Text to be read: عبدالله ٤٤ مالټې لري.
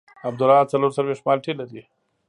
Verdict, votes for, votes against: rejected, 0, 2